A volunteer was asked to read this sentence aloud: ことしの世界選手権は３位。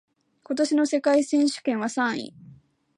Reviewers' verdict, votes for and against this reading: rejected, 0, 2